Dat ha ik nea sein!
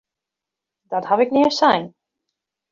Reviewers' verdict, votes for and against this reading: accepted, 2, 0